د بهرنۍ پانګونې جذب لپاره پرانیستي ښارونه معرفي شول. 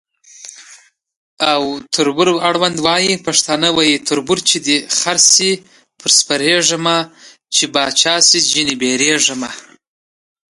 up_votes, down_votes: 1, 2